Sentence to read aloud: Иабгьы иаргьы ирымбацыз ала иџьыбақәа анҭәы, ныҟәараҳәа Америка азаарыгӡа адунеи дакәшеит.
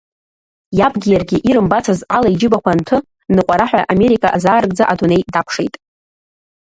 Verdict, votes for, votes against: rejected, 1, 2